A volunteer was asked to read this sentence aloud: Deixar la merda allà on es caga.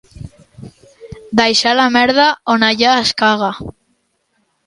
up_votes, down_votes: 1, 2